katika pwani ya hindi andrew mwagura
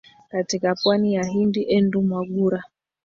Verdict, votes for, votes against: rejected, 0, 2